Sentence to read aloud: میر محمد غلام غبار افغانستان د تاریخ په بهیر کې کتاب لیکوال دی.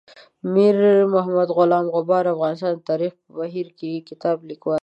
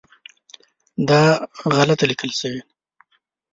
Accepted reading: first